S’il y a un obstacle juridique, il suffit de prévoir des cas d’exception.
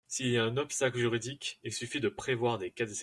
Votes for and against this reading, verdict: 0, 2, rejected